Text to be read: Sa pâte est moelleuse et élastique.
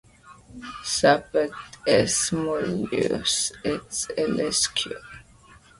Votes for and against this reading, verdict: 1, 2, rejected